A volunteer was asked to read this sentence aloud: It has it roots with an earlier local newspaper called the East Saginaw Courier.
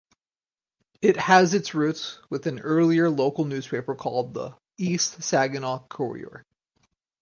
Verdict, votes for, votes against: accepted, 4, 2